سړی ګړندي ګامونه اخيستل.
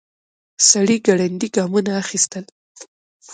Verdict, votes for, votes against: rejected, 1, 2